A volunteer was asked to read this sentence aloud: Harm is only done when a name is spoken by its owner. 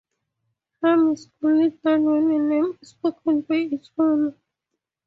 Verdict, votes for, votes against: rejected, 0, 4